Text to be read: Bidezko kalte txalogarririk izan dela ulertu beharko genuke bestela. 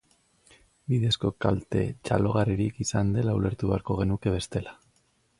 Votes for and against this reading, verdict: 2, 0, accepted